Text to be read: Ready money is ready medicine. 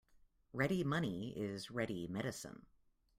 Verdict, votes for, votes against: accepted, 2, 0